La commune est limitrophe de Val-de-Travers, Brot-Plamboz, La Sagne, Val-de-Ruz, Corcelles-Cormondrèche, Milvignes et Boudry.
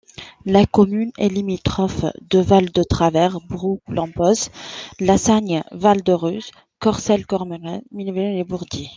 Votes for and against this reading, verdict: 1, 2, rejected